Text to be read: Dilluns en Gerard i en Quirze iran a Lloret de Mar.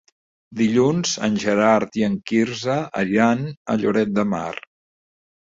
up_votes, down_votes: 2, 0